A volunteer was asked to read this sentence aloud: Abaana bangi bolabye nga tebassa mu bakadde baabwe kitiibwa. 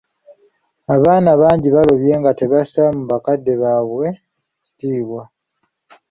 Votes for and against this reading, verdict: 0, 2, rejected